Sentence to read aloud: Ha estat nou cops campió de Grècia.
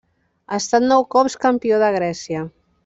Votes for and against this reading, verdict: 1, 2, rejected